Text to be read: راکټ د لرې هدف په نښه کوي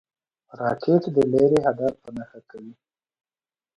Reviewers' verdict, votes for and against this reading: accepted, 2, 1